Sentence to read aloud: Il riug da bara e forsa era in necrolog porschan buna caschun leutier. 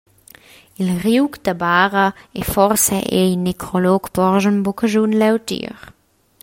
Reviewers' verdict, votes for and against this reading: rejected, 0, 2